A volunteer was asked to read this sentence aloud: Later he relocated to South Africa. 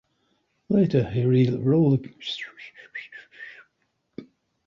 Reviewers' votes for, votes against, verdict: 0, 2, rejected